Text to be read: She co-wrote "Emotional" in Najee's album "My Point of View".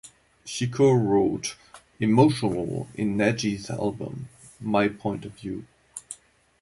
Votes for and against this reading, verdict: 2, 0, accepted